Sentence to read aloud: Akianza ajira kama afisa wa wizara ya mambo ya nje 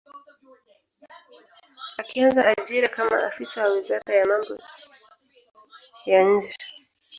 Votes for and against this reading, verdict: 1, 2, rejected